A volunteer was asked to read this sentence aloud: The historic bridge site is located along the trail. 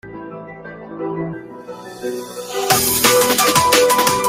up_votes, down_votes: 0, 2